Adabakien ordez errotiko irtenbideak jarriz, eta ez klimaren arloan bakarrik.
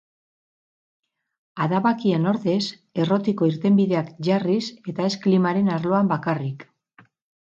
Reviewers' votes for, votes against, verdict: 2, 4, rejected